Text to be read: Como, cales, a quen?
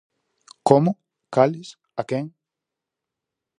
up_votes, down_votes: 4, 0